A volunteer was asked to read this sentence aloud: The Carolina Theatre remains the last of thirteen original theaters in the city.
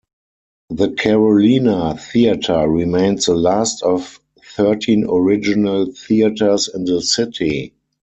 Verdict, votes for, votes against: rejected, 2, 4